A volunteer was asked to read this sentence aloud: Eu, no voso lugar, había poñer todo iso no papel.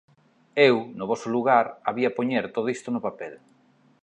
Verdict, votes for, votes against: rejected, 0, 2